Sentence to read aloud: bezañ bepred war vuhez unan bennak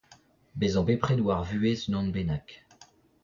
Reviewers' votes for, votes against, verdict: 0, 2, rejected